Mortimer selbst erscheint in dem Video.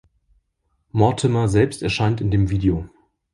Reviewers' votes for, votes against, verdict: 2, 0, accepted